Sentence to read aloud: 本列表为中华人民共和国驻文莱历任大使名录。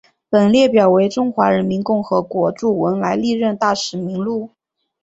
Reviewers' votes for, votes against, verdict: 2, 0, accepted